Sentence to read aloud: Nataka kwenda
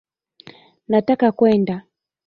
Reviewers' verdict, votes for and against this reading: accepted, 2, 0